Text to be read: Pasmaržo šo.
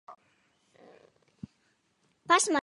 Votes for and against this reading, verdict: 0, 2, rejected